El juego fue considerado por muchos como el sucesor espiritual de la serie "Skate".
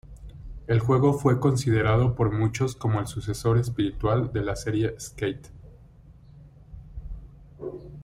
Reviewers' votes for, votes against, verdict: 2, 0, accepted